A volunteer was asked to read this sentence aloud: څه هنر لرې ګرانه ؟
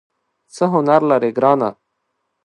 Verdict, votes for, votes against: accepted, 2, 0